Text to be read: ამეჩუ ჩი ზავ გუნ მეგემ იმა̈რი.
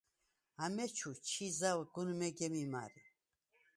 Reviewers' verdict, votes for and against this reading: accepted, 4, 2